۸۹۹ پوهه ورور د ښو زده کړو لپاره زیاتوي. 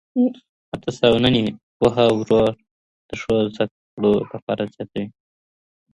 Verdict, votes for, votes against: rejected, 0, 2